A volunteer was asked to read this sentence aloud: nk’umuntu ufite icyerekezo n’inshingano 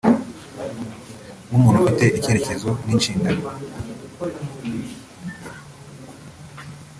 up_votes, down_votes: 0, 2